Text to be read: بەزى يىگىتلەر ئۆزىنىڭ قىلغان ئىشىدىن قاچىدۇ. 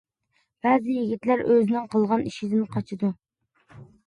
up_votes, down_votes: 2, 0